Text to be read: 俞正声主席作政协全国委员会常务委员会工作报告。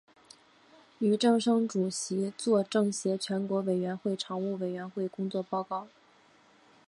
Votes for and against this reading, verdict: 4, 0, accepted